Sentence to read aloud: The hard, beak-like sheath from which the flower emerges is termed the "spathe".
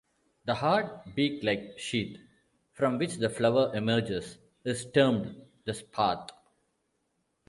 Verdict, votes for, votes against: accepted, 2, 0